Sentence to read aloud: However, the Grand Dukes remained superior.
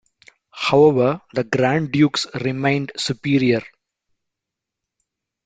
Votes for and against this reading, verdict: 2, 1, accepted